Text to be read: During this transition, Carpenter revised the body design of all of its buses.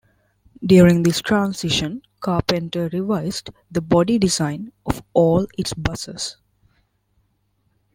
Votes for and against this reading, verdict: 1, 2, rejected